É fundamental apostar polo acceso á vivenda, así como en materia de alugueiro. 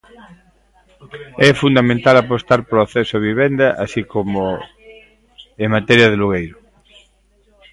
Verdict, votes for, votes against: rejected, 0, 2